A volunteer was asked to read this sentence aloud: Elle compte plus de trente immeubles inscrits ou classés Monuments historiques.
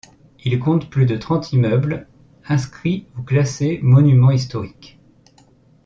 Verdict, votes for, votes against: rejected, 1, 2